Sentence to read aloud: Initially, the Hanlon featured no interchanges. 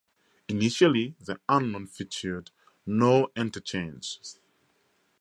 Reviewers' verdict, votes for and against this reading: rejected, 0, 2